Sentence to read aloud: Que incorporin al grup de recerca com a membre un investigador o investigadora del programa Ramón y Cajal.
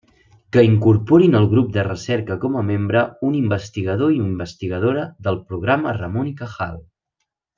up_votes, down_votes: 0, 2